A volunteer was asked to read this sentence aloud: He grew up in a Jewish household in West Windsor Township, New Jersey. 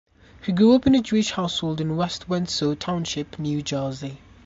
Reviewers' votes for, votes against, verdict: 2, 0, accepted